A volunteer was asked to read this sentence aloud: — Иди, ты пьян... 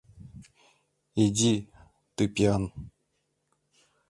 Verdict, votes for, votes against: rejected, 1, 2